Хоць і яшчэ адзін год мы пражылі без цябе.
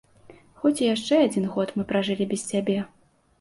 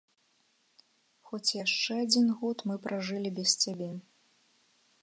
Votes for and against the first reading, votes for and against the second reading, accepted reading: 2, 0, 1, 2, first